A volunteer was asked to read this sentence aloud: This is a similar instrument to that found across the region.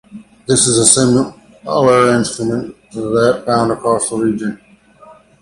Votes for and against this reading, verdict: 0, 2, rejected